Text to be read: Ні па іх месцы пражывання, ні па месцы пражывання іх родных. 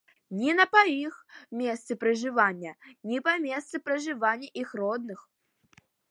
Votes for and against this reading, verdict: 1, 2, rejected